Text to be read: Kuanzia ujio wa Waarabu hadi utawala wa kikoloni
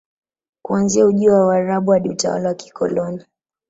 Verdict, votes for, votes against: rejected, 1, 2